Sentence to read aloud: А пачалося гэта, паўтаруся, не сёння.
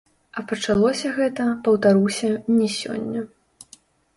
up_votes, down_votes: 1, 2